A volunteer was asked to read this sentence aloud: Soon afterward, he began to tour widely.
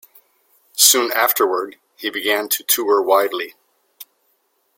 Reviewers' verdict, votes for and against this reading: accepted, 2, 0